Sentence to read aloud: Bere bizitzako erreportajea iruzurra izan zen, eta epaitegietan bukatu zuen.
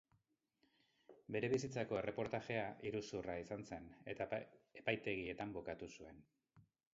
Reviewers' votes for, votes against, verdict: 2, 2, rejected